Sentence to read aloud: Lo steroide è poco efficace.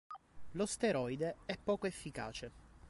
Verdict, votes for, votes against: accepted, 2, 0